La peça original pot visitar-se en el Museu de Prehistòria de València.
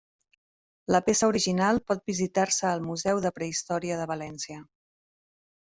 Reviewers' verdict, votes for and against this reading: rejected, 1, 2